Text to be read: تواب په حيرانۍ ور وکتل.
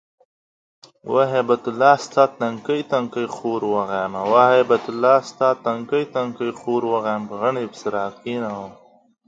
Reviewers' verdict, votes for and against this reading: rejected, 0, 3